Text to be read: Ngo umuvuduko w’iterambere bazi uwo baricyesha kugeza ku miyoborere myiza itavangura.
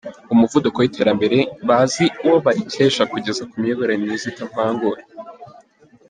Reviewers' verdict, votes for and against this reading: rejected, 1, 2